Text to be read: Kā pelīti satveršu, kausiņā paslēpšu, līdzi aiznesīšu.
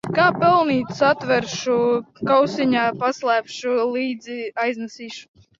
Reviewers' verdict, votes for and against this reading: rejected, 1, 2